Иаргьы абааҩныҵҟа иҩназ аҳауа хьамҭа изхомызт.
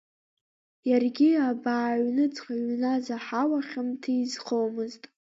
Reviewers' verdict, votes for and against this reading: accepted, 2, 1